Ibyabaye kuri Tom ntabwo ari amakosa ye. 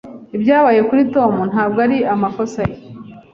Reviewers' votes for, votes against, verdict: 2, 0, accepted